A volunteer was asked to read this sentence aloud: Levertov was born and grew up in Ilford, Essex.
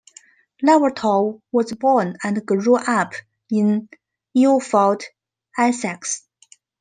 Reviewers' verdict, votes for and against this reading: accepted, 2, 0